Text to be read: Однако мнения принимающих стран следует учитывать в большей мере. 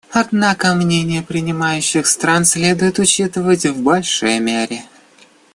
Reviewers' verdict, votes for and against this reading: accepted, 2, 0